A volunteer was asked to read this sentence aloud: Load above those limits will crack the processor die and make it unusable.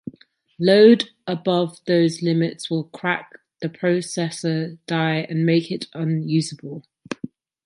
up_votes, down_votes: 3, 0